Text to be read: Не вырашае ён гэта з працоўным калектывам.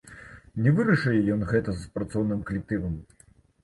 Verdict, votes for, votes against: accepted, 2, 0